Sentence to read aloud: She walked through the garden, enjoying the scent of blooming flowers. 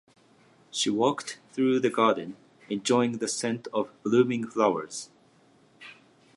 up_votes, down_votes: 2, 1